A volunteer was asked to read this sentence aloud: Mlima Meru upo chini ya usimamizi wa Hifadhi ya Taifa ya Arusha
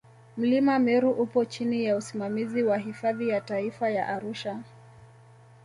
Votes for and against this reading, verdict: 2, 0, accepted